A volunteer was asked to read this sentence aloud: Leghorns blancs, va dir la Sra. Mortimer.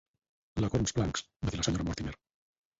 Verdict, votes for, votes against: rejected, 2, 4